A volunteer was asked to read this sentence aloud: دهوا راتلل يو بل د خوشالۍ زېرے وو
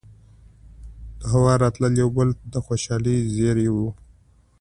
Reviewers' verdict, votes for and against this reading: accepted, 2, 0